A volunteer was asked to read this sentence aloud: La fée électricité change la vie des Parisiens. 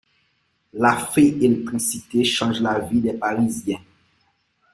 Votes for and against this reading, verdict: 1, 2, rejected